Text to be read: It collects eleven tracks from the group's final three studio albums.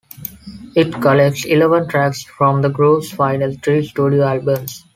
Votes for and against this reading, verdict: 2, 0, accepted